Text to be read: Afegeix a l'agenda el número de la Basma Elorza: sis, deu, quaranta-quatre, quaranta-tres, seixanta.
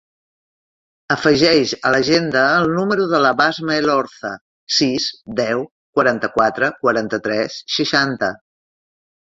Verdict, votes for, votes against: accepted, 3, 0